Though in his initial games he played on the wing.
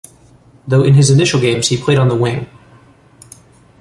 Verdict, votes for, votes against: accepted, 6, 0